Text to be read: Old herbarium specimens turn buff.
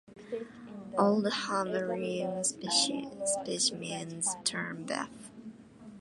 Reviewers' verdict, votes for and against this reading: rejected, 0, 2